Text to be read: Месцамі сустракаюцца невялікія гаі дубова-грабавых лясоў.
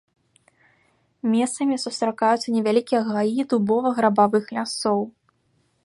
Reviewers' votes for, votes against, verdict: 1, 3, rejected